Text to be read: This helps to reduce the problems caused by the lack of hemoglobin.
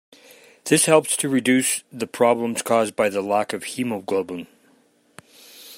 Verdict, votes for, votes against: accepted, 2, 0